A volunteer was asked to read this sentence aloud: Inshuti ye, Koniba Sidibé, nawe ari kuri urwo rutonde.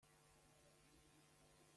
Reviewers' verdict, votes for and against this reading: rejected, 0, 2